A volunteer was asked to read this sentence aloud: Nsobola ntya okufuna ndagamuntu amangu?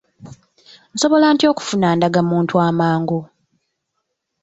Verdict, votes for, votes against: accepted, 3, 0